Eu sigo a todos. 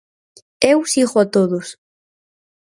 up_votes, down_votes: 4, 0